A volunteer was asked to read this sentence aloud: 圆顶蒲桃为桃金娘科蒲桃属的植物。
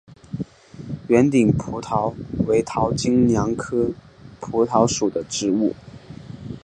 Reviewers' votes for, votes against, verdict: 5, 1, accepted